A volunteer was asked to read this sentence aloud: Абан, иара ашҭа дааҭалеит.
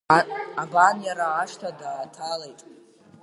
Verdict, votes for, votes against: accepted, 2, 0